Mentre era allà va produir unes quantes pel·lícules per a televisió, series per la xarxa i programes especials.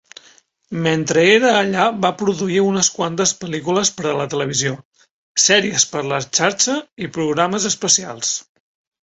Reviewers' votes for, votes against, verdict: 1, 2, rejected